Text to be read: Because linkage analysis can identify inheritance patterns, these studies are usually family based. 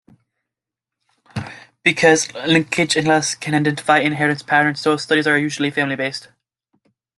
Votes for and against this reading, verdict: 0, 2, rejected